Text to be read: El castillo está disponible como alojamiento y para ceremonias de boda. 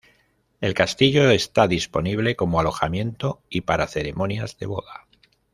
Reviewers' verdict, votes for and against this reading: rejected, 1, 2